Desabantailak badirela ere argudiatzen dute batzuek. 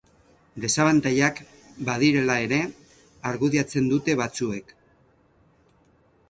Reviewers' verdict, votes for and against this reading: accepted, 4, 0